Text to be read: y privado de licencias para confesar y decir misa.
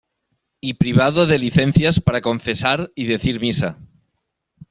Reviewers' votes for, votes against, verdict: 2, 0, accepted